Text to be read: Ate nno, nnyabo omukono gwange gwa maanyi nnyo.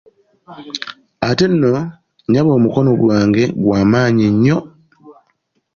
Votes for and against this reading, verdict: 2, 0, accepted